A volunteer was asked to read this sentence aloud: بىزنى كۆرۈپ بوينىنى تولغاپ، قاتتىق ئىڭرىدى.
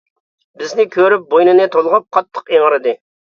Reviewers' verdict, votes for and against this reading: accepted, 2, 0